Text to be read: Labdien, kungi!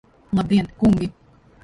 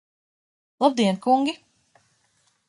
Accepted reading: second